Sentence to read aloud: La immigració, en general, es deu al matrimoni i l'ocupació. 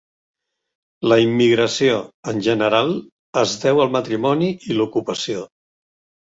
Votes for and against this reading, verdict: 2, 0, accepted